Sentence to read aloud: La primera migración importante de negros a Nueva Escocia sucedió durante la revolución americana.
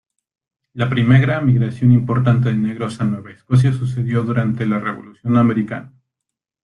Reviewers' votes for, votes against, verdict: 1, 2, rejected